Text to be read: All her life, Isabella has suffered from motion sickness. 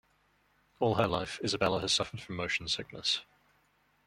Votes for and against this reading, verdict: 0, 2, rejected